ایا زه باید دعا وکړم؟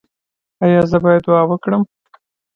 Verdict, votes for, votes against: rejected, 1, 2